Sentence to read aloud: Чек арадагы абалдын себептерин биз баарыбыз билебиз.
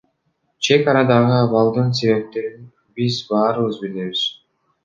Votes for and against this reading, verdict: 0, 2, rejected